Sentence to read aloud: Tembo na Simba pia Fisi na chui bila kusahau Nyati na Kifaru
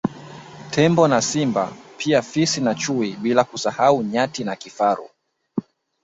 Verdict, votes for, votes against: accepted, 2, 1